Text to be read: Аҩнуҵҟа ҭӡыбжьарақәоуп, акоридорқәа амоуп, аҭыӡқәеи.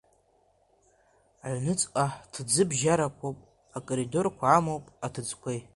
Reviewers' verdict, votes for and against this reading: accepted, 2, 0